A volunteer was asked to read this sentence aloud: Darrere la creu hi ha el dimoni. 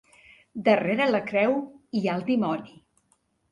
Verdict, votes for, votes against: accepted, 3, 0